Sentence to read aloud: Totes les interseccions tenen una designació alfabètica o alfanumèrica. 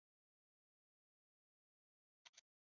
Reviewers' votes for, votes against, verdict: 0, 3, rejected